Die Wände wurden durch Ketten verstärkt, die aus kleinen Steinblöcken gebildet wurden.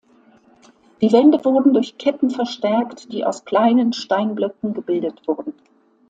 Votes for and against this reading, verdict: 2, 0, accepted